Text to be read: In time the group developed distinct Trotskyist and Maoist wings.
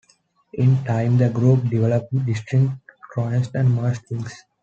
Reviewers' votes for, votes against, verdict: 0, 2, rejected